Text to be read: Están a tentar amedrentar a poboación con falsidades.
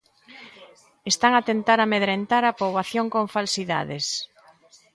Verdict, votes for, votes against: accepted, 2, 0